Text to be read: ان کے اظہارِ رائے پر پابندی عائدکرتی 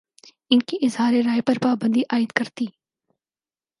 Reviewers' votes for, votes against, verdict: 4, 0, accepted